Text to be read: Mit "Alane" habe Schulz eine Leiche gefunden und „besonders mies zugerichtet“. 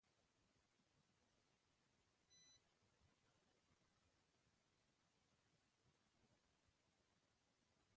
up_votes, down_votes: 0, 3